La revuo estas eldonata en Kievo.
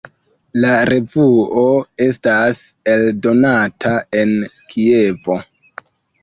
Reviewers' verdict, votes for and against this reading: rejected, 1, 2